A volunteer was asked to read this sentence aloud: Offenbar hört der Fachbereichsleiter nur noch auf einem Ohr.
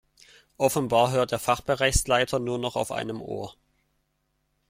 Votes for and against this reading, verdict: 2, 0, accepted